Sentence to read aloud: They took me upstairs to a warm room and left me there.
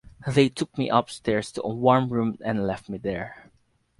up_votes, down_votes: 4, 0